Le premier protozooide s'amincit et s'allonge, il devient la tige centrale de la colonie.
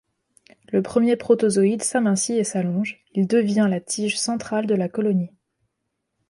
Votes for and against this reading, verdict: 2, 0, accepted